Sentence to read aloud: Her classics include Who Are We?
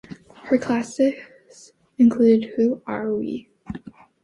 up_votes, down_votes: 2, 0